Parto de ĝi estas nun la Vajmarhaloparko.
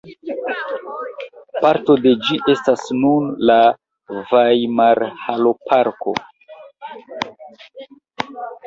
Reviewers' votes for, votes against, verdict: 2, 0, accepted